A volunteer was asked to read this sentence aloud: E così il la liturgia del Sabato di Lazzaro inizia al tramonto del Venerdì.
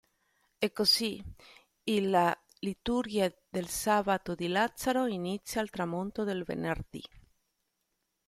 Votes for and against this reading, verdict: 1, 2, rejected